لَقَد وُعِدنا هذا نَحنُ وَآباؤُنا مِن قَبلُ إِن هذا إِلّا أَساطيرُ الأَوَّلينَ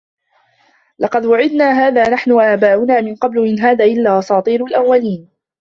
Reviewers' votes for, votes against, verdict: 2, 0, accepted